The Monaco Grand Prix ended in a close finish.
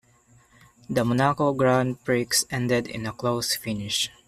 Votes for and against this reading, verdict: 1, 2, rejected